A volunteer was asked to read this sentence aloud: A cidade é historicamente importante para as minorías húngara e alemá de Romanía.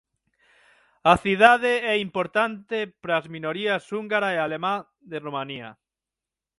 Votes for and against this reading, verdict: 0, 6, rejected